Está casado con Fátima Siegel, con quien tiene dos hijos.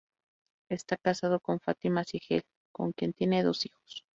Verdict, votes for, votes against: accepted, 4, 0